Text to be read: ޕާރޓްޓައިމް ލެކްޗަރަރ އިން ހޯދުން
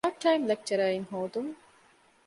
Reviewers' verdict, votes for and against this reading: rejected, 0, 2